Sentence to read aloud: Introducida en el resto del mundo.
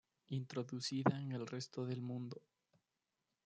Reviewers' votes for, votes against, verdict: 0, 2, rejected